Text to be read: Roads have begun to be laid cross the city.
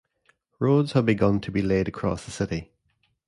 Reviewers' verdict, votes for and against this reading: rejected, 1, 2